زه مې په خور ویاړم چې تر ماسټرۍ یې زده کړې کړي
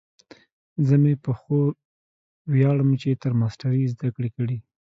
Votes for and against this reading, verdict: 2, 0, accepted